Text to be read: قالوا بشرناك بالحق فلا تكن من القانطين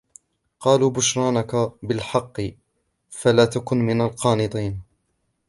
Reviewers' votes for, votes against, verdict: 0, 2, rejected